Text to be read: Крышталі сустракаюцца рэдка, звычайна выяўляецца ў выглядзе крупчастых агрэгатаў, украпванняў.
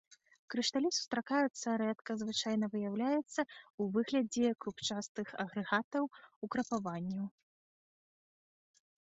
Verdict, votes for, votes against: rejected, 0, 2